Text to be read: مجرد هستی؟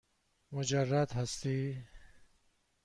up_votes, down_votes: 2, 0